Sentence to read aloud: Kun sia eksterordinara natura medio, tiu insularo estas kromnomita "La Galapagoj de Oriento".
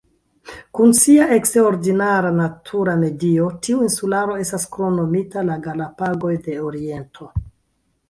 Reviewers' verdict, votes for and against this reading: accepted, 2, 1